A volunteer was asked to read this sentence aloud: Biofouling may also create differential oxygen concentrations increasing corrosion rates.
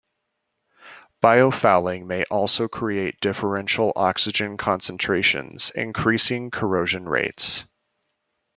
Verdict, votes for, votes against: accepted, 2, 0